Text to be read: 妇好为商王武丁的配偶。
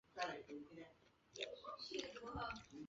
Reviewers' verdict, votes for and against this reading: rejected, 0, 4